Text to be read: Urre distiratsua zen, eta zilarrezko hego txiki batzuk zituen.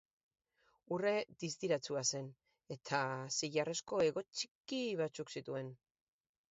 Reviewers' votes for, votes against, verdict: 6, 0, accepted